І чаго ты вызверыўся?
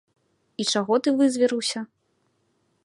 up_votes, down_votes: 2, 0